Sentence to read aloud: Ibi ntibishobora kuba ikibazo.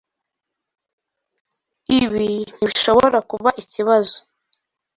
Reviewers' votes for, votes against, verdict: 2, 0, accepted